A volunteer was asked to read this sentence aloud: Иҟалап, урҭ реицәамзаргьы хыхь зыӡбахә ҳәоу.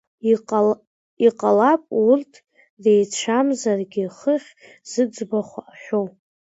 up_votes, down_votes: 0, 2